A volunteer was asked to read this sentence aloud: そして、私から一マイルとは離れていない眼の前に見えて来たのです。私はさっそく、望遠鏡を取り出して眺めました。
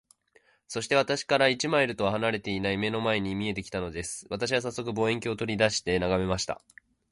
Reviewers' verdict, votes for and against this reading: accepted, 2, 0